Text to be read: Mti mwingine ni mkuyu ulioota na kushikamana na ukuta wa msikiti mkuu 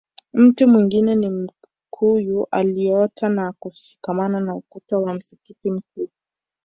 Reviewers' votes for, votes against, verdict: 1, 2, rejected